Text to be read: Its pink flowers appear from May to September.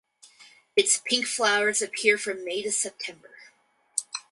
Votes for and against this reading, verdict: 4, 0, accepted